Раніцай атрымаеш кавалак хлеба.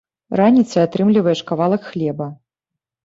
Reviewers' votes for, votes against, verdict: 1, 2, rejected